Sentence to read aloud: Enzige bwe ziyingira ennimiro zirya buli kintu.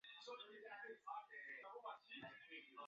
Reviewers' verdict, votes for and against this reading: rejected, 0, 2